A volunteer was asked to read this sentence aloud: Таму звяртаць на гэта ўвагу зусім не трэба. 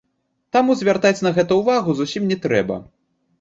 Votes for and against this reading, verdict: 0, 2, rejected